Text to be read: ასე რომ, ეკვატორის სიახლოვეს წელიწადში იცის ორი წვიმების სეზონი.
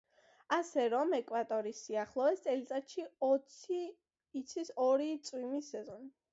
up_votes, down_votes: 0, 2